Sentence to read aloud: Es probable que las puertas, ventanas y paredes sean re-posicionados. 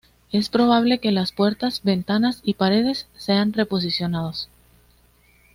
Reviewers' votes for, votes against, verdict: 2, 0, accepted